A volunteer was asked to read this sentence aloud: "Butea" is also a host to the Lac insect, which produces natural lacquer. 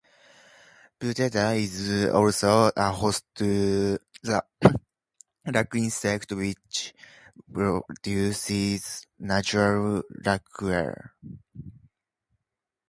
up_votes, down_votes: 0, 2